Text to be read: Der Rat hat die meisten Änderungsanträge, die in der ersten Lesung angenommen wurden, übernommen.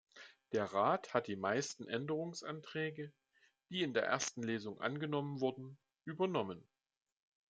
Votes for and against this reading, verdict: 2, 0, accepted